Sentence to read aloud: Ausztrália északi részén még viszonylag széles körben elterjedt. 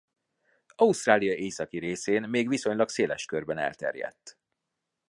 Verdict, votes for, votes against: accepted, 3, 0